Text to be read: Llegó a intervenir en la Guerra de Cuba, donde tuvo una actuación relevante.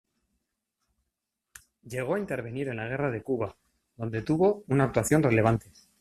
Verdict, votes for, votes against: rejected, 0, 2